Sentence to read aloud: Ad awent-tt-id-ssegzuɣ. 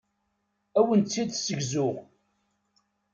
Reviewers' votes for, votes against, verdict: 2, 0, accepted